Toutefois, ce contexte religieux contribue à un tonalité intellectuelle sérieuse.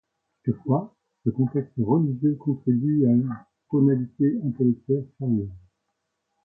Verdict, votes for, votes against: rejected, 1, 2